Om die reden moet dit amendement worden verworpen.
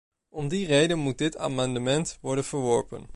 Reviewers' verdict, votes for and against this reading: accepted, 2, 0